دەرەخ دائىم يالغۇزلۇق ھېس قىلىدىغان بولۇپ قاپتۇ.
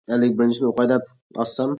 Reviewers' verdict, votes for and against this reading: rejected, 0, 2